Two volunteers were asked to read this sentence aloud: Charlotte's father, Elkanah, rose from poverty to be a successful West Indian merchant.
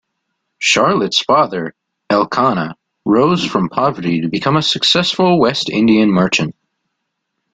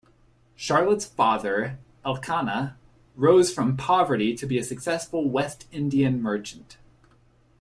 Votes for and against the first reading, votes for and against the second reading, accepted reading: 0, 2, 2, 0, second